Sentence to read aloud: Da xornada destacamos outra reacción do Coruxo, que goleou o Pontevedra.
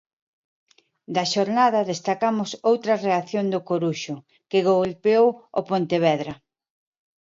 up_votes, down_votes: 0, 2